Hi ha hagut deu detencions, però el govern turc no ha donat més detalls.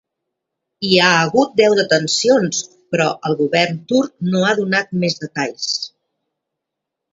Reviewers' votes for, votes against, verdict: 2, 0, accepted